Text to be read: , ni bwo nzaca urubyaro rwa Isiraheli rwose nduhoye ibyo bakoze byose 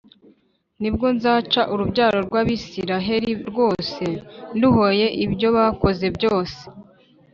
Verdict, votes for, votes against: rejected, 0, 2